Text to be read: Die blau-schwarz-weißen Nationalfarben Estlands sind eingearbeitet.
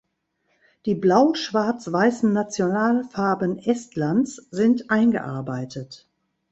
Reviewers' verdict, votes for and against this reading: accepted, 2, 0